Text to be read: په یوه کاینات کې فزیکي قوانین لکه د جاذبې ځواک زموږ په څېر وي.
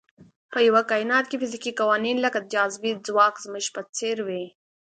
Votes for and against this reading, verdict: 2, 0, accepted